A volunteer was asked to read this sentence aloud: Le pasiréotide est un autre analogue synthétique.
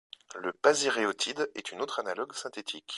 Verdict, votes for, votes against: rejected, 1, 2